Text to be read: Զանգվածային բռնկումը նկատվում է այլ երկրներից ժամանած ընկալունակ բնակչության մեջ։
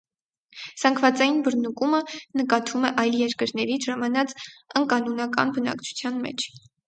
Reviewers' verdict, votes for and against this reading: rejected, 0, 4